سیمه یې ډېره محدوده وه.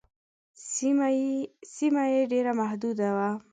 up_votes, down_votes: 2, 1